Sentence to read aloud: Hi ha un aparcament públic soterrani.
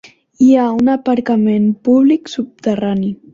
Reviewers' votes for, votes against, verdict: 0, 2, rejected